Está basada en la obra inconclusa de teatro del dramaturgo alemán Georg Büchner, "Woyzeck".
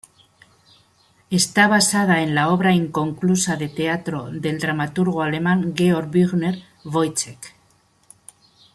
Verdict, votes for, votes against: accepted, 2, 0